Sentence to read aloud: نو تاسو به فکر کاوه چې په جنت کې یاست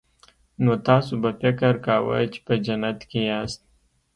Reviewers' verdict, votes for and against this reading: accepted, 2, 0